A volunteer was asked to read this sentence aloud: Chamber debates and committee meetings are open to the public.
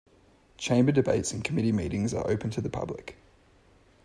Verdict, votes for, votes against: accepted, 2, 0